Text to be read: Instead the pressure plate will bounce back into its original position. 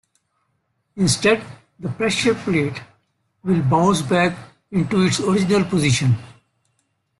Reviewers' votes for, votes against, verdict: 2, 0, accepted